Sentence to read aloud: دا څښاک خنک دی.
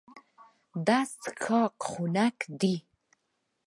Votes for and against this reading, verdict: 1, 2, rejected